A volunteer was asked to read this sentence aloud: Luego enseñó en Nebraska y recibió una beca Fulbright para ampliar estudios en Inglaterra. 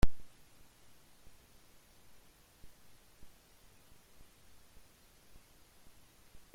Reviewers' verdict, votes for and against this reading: rejected, 1, 2